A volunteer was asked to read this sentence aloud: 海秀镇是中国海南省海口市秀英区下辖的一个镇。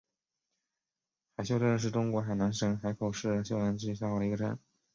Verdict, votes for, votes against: rejected, 2, 3